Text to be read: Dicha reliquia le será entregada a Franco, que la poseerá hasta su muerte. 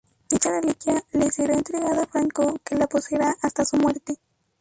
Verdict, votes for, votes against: rejected, 0, 4